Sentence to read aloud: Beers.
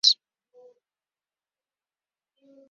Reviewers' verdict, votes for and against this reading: rejected, 0, 2